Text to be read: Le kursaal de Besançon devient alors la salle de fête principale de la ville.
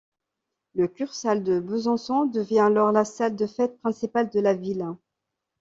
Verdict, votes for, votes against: accepted, 2, 0